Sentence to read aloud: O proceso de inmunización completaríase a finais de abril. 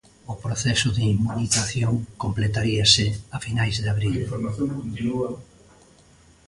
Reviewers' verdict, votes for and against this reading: rejected, 0, 2